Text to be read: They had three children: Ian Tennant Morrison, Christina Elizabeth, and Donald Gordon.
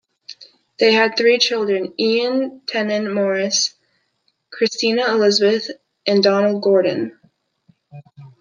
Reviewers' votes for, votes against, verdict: 1, 2, rejected